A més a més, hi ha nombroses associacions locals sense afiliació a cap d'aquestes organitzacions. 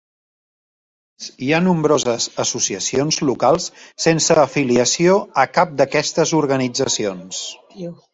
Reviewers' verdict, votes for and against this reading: rejected, 0, 3